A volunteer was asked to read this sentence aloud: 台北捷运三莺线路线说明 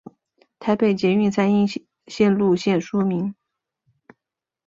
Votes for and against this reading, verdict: 5, 0, accepted